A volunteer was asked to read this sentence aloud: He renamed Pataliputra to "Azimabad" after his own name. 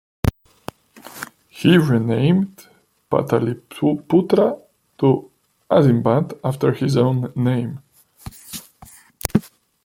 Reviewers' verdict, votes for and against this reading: rejected, 1, 2